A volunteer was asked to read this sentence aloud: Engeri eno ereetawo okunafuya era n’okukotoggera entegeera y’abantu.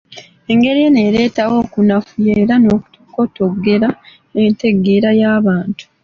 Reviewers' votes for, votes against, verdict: 2, 0, accepted